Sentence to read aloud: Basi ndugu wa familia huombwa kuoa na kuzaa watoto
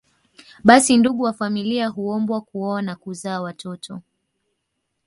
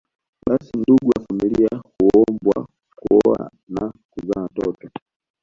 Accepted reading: first